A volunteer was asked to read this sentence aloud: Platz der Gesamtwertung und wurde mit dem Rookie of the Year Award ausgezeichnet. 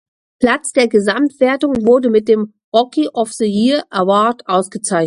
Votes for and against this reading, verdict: 0, 2, rejected